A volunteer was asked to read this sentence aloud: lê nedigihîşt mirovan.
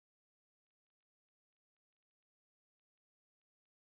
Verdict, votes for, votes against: rejected, 0, 2